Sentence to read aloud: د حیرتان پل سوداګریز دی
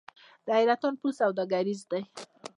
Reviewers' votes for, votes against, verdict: 0, 2, rejected